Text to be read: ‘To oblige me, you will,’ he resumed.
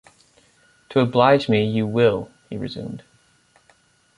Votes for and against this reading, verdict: 2, 0, accepted